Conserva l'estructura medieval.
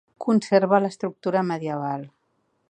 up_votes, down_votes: 3, 0